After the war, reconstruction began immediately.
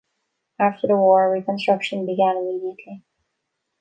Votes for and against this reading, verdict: 2, 0, accepted